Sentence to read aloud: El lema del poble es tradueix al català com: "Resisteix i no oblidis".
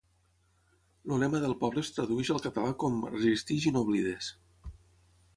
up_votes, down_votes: 3, 3